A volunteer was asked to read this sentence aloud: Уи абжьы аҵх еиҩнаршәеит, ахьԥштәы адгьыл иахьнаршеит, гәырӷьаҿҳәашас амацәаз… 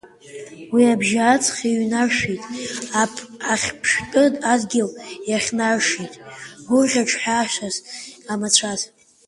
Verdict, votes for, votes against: rejected, 0, 3